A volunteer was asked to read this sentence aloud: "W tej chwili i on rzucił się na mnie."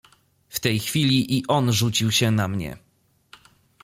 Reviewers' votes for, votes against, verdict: 2, 0, accepted